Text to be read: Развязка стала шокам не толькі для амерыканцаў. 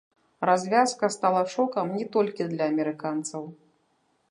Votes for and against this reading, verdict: 0, 2, rejected